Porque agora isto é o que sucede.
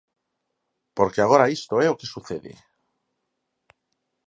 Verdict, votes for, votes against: accepted, 4, 0